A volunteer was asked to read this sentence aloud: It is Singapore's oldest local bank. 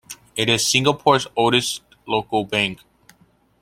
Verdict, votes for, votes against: accepted, 2, 0